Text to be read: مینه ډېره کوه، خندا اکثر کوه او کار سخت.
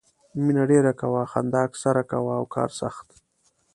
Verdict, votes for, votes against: accepted, 2, 0